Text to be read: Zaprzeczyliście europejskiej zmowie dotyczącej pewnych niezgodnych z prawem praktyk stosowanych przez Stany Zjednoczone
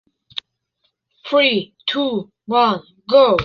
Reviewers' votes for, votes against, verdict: 0, 2, rejected